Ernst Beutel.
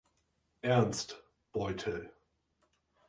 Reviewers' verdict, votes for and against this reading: accepted, 2, 0